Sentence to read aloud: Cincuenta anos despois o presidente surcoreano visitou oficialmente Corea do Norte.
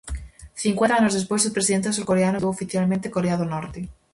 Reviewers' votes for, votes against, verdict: 0, 4, rejected